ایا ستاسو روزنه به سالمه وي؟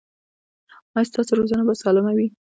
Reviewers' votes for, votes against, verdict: 1, 2, rejected